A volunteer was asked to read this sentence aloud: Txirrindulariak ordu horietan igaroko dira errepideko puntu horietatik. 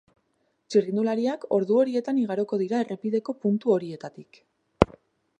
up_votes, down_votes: 6, 0